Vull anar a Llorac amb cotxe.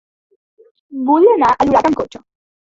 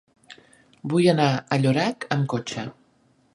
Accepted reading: second